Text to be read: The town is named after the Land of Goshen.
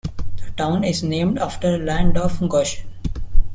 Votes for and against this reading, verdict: 1, 2, rejected